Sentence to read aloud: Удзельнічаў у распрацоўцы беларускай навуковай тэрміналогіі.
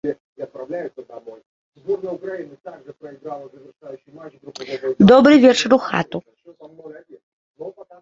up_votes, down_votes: 0, 2